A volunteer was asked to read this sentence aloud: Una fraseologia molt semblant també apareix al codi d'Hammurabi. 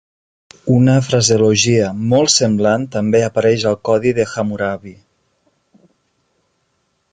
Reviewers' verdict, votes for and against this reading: rejected, 0, 2